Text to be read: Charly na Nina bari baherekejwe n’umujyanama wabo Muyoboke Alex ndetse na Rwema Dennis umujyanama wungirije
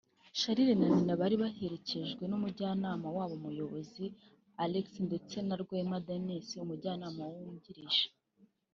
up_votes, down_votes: 1, 2